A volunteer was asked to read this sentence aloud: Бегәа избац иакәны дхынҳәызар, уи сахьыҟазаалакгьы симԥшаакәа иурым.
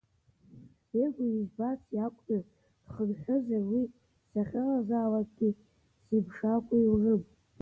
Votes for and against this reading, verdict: 1, 2, rejected